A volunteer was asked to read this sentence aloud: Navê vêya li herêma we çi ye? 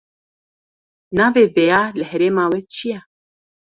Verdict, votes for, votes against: accepted, 2, 0